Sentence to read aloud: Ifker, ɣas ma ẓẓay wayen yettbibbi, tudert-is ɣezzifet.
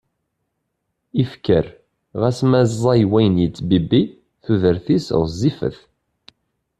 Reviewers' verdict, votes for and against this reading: accepted, 2, 0